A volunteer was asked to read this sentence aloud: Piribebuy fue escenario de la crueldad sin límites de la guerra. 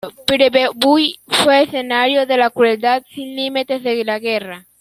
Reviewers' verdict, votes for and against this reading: rejected, 0, 2